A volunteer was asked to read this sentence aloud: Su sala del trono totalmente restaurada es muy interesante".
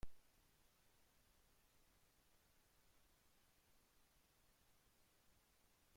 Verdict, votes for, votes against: rejected, 0, 2